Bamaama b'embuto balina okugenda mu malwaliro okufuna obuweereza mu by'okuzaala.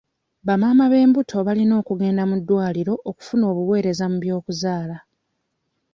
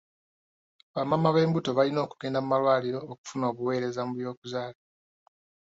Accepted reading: second